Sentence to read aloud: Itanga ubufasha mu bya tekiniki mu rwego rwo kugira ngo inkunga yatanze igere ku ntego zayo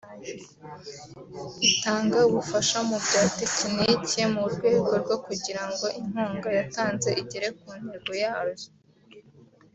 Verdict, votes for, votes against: rejected, 1, 2